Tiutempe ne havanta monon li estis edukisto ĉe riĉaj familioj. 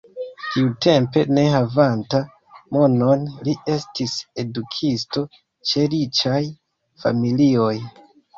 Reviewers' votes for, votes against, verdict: 2, 0, accepted